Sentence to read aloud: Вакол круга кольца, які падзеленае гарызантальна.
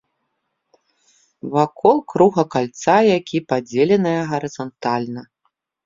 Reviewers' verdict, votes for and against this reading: rejected, 0, 2